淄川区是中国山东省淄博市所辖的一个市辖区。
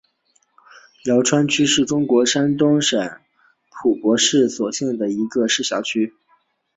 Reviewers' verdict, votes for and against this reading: accepted, 2, 0